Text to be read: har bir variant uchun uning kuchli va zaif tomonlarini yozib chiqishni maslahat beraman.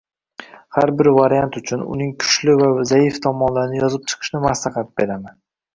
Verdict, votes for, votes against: rejected, 0, 2